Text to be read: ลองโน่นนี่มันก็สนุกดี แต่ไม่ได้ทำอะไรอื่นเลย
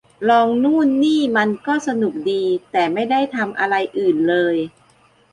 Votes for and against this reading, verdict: 1, 2, rejected